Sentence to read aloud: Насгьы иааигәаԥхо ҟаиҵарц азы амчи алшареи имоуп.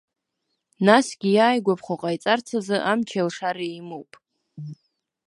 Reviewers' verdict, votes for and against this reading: accepted, 2, 0